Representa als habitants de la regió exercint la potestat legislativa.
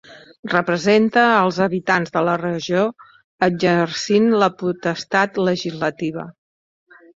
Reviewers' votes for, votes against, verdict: 0, 2, rejected